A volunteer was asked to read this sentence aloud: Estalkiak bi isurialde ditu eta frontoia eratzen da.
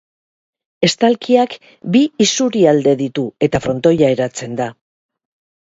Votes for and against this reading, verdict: 2, 0, accepted